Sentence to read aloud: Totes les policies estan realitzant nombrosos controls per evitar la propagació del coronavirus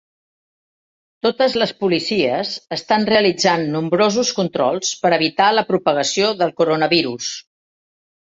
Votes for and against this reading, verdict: 3, 0, accepted